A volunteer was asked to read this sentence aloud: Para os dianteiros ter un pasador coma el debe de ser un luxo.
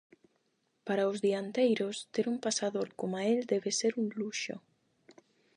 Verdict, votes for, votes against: rejected, 4, 4